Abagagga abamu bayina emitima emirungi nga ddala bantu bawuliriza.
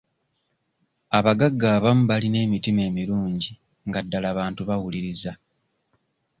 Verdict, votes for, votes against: rejected, 0, 2